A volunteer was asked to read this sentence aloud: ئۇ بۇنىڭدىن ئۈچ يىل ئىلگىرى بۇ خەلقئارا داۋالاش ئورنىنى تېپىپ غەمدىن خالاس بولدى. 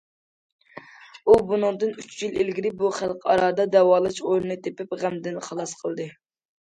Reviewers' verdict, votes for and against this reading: rejected, 0, 2